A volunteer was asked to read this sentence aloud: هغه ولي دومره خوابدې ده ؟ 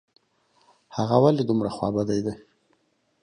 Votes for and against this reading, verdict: 0, 2, rejected